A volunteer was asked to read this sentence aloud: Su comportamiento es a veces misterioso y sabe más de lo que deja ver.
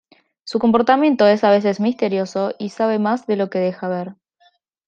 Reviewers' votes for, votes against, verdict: 2, 0, accepted